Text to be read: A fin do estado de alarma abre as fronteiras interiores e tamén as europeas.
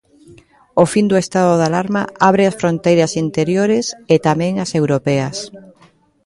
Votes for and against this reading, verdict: 0, 2, rejected